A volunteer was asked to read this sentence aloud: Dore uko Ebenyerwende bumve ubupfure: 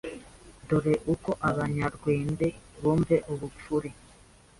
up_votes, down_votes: 1, 2